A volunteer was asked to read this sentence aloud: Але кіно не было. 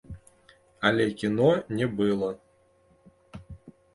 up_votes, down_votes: 0, 2